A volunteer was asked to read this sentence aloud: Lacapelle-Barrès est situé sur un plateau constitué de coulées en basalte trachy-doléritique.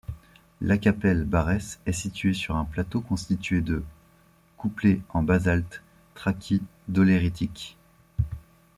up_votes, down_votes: 0, 2